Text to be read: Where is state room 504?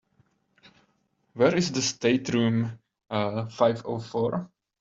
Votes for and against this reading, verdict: 0, 2, rejected